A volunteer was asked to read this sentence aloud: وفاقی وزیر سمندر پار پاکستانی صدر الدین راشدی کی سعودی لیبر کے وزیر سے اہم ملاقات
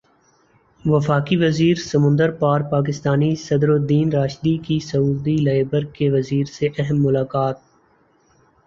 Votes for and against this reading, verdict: 1, 2, rejected